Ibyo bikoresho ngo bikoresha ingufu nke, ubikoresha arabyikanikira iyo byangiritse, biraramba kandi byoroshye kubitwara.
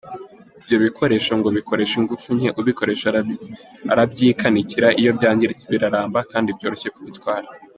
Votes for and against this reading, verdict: 3, 0, accepted